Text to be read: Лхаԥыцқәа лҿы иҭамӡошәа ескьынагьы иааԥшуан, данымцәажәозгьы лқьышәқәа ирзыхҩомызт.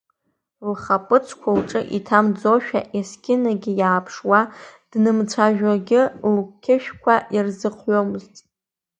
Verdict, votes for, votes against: rejected, 0, 2